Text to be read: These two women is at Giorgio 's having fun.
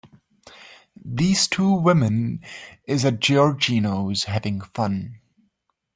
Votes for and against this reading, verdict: 0, 2, rejected